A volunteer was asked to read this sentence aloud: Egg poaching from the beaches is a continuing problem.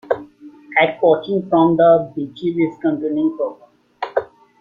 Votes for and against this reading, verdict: 1, 3, rejected